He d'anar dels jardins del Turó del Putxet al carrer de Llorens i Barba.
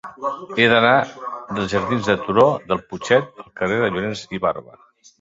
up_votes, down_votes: 0, 2